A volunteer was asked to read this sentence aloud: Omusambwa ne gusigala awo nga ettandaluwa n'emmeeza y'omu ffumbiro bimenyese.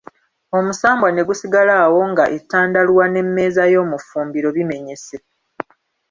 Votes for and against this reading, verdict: 2, 1, accepted